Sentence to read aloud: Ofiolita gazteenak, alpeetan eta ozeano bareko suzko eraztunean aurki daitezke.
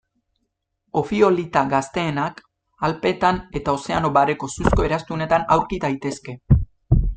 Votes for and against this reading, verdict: 1, 2, rejected